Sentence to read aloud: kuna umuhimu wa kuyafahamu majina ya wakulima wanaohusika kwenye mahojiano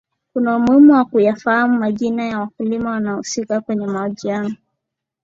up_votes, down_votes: 5, 1